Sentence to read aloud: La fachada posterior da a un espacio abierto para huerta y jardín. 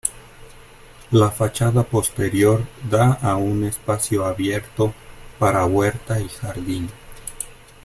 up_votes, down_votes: 2, 0